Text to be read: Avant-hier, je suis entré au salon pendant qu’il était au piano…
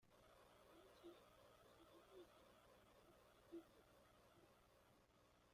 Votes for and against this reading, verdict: 0, 2, rejected